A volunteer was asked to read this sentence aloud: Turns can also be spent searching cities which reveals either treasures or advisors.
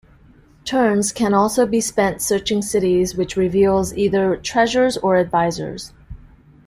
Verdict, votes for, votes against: accepted, 2, 0